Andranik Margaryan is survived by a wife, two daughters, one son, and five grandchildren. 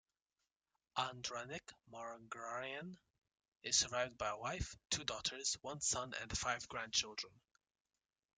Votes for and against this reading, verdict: 0, 2, rejected